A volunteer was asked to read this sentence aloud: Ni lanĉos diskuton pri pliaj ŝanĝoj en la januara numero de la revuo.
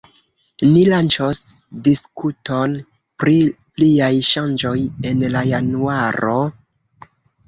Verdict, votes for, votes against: rejected, 0, 2